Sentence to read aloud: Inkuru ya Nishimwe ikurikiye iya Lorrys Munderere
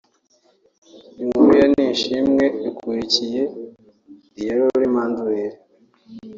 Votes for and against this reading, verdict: 0, 2, rejected